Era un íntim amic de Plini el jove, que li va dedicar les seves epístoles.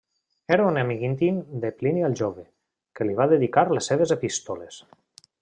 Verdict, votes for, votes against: rejected, 1, 2